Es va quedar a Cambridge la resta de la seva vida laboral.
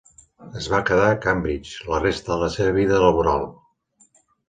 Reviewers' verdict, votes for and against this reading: accepted, 2, 0